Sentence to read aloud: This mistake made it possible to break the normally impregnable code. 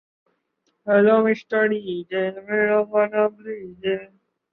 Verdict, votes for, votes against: rejected, 0, 2